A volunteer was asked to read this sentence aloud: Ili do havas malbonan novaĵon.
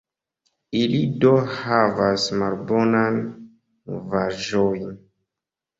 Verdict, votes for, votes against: rejected, 0, 2